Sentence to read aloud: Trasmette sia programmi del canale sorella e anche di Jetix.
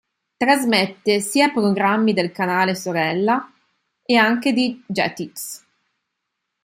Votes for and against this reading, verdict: 2, 0, accepted